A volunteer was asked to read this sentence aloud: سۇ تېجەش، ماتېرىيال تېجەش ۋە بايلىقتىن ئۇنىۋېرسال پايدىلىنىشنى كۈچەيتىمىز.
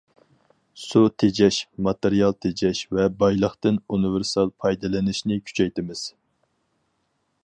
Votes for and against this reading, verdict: 4, 0, accepted